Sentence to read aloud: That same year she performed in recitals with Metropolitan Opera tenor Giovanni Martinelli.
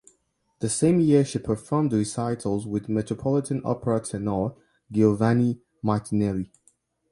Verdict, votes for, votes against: rejected, 1, 2